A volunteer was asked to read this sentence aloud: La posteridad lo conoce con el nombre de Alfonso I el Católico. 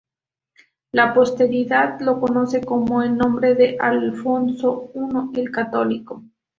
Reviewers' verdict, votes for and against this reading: rejected, 0, 2